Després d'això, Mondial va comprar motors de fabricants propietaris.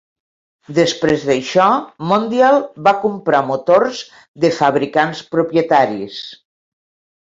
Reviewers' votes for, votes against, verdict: 2, 0, accepted